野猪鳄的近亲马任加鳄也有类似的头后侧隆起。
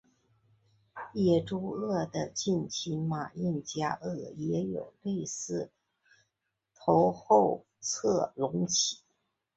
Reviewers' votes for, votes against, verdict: 2, 0, accepted